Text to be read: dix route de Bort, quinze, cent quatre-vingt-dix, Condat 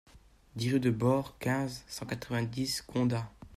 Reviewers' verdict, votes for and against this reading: rejected, 1, 2